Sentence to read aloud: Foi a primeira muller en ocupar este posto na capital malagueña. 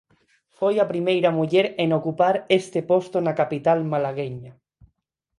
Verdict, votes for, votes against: accepted, 4, 2